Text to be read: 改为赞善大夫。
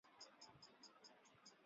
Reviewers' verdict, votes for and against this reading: rejected, 0, 3